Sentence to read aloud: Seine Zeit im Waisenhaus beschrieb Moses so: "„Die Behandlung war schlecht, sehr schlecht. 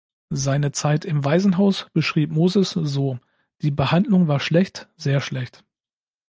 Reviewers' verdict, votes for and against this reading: accepted, 2, 0